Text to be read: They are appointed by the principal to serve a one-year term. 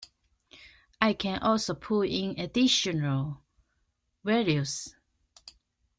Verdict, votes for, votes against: rejected, 0, 2